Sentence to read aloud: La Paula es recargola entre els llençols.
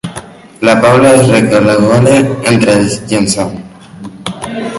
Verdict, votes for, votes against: rejected, 1, 2